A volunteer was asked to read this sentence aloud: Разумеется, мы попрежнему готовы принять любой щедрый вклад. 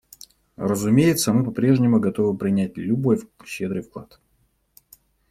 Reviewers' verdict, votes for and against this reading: rejected, 0, 2